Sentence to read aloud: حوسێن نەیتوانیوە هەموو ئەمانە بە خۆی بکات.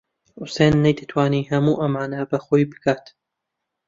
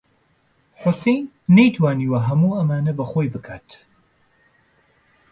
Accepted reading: second